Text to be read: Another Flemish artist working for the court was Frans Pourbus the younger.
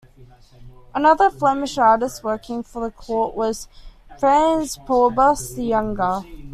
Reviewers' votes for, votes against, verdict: 2, 0, accepted